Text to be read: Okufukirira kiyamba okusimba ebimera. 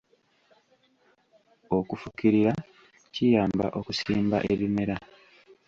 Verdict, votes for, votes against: accepted, 2, 0